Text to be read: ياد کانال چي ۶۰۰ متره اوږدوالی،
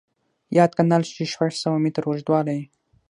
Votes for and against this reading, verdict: 0, 2, rejected